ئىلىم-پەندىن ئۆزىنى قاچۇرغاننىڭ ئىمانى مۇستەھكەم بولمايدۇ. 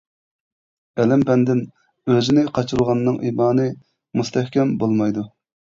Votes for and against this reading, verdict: 2, 0, accepted